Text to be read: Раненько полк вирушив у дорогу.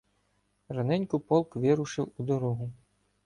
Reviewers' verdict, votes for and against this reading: accepted, 2, 0